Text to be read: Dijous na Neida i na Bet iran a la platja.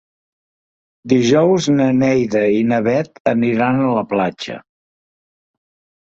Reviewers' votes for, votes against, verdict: 0, 2, rejected